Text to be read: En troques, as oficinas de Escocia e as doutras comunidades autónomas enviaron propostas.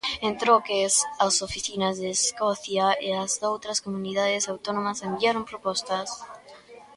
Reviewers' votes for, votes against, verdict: 3, 0, accepted